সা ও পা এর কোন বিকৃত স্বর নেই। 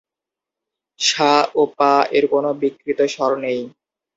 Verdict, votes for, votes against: accepted, 2, 0